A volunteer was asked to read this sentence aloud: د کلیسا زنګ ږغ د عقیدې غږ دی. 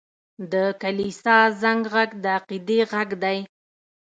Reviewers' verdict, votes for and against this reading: accepted, 2, 0